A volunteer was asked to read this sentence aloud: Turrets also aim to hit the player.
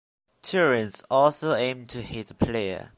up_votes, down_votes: 0, 2